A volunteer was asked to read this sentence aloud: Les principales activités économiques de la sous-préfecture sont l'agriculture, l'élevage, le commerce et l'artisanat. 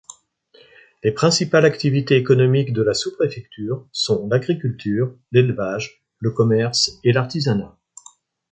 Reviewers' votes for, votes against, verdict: 2, 0, accepted